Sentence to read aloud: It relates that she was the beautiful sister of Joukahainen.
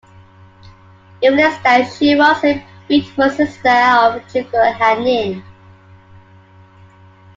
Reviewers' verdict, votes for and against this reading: rejected, 0, 2